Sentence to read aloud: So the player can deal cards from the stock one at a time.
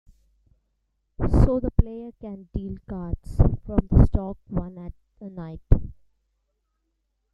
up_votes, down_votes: 1, 3